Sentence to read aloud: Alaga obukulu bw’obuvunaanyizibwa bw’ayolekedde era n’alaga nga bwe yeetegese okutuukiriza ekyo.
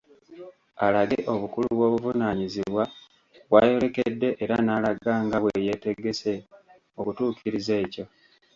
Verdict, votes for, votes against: rejected, 0, 2